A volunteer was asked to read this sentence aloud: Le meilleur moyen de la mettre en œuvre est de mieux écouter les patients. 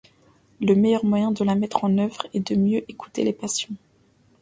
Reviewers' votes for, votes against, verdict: 2, 0, accepted